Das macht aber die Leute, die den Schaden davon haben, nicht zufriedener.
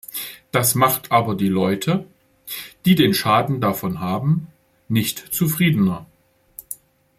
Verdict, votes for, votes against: accepted, 2, 0